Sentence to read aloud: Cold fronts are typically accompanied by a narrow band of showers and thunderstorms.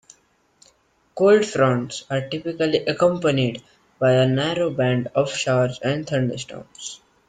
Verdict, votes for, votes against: accepted, 2, 0